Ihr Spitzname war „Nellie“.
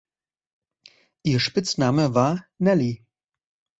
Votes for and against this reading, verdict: 2, 0, accepted